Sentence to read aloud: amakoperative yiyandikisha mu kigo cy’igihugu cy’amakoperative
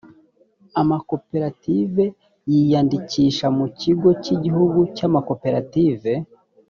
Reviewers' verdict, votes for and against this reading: accepted, 2, 0